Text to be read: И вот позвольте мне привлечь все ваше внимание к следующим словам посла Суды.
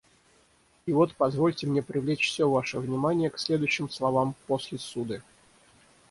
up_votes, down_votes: 0, 6